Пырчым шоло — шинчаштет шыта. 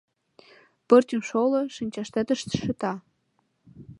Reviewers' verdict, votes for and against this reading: rejected, 1, 2